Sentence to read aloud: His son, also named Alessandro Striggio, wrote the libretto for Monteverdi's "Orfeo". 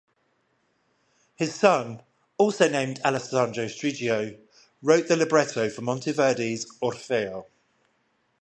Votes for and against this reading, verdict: 5, 5, rejected